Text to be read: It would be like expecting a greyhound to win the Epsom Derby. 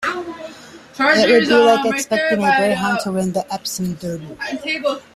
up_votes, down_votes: 0, 2